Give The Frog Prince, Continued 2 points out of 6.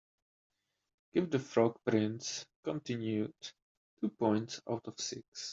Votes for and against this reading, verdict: 0, 2, rejected